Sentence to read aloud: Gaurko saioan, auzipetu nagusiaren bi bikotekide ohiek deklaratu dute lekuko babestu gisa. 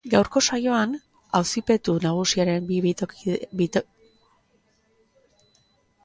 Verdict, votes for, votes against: rejected, 0, 2